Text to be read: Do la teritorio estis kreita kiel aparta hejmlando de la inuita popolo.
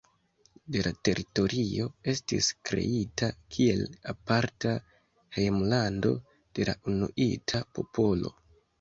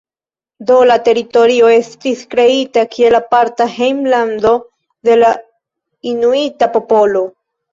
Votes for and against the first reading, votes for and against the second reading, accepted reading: 2, 0, 0, 2, first